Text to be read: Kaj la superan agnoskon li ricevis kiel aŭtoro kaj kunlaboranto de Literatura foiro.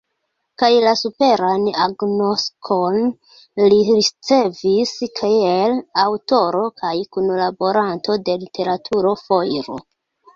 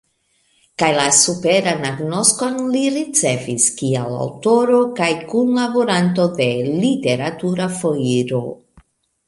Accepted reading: second